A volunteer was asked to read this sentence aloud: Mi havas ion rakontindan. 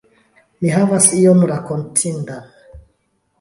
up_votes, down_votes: 2, 1